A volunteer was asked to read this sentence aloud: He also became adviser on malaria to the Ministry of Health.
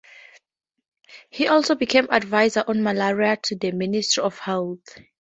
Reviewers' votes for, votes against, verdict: 4, 0, accepted